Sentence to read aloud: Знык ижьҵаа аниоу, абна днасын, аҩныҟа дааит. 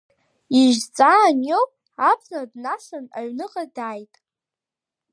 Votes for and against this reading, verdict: 1, 2, rejected